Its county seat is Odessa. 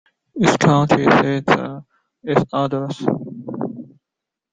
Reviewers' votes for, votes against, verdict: 0, 2, rejected